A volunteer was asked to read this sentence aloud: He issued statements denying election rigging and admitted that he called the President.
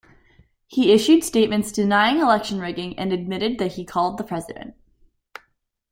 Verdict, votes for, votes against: accepted, 2, 0